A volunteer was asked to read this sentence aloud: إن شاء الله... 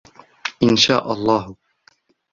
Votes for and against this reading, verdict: 2, 0, accepted